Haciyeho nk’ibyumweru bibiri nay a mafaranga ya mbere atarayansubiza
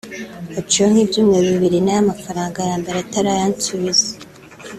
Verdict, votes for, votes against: accepted, 2, 0